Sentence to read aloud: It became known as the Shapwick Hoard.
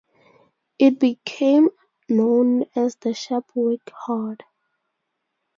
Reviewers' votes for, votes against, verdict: 4, 0, accepted